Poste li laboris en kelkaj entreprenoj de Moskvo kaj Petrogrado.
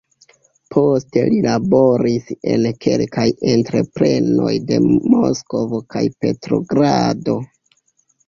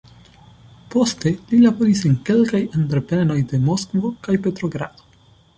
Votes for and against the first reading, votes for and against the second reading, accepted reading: 0, 2, 2, 0, second